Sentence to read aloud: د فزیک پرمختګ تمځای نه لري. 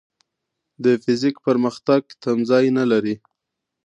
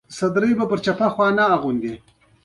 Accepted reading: first